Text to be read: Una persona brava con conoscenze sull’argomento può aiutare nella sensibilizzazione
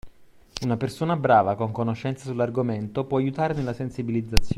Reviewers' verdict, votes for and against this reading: rejected, 0, 2